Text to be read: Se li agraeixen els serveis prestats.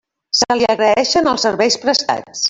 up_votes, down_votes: 1, 2